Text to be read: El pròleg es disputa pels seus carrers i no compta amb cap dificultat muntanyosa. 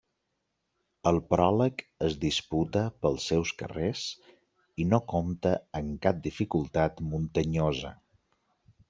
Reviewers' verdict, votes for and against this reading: accepted, 2, 0